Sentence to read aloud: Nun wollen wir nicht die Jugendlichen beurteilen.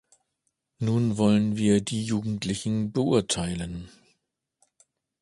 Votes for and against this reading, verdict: 1, 2, rejected